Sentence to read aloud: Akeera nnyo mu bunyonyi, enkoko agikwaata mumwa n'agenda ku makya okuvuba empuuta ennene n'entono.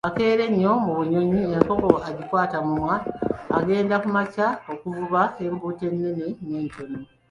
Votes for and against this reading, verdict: 0, 2, rejected